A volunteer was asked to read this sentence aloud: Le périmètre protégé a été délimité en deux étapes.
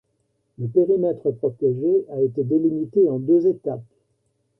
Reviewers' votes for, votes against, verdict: 0, 2, rejected